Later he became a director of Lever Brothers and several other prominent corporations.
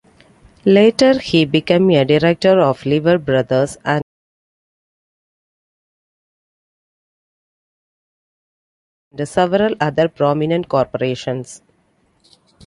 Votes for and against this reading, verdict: 0, 2, rejected